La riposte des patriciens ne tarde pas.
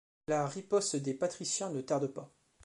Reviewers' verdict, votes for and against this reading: accepted, 2, 0